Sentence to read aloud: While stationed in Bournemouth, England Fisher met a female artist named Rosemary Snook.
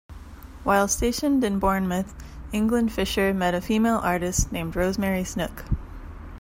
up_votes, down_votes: 2, 1